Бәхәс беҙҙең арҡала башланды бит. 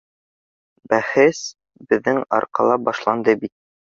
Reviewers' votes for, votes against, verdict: 1, 2, rejected